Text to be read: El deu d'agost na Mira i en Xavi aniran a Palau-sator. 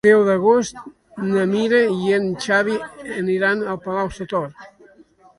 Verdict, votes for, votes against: accepted, 2, 1